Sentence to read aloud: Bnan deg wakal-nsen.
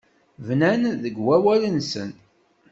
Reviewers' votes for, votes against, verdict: 0, 2, rejected